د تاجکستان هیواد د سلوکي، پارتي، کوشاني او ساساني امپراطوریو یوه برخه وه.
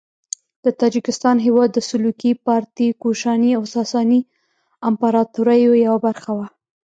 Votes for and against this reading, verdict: 1, 2, rejected